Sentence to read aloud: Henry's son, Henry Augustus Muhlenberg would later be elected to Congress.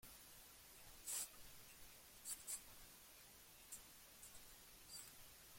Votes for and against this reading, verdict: 0, 2, rejected